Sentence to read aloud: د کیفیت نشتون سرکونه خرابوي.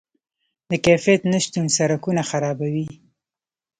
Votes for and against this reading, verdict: 0, 2, rejected